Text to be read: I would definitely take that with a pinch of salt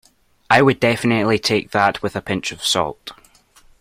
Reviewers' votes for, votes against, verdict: 2, 0, accepted